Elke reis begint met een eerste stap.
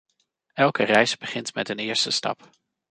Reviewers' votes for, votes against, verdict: 2, 0, accepted